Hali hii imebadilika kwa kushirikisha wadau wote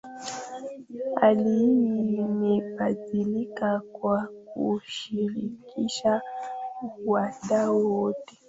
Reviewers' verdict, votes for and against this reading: rejected, 0, 2